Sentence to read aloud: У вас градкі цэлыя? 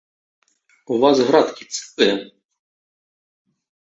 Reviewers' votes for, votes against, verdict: 1, 2, rejected